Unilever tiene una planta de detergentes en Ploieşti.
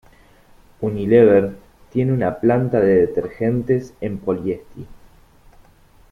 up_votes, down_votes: 1, 2